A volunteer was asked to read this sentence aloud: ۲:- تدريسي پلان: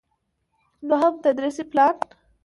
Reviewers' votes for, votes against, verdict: 0, 2, rejected